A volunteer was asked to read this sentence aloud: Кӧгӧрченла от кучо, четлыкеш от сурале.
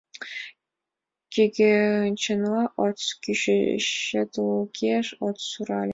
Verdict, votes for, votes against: rejected, 1, 4